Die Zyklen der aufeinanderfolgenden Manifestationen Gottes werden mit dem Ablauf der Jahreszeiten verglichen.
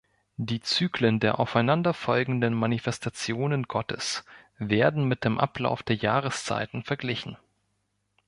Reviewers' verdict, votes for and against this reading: rejected, 1, 2